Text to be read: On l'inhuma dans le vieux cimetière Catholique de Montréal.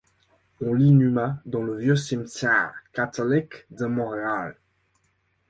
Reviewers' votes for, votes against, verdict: 0, 2, rejected